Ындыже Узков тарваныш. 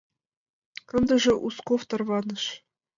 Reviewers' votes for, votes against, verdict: 2, 0, accepted